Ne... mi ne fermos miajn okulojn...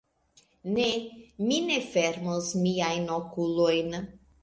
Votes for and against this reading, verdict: 2, 0, accepted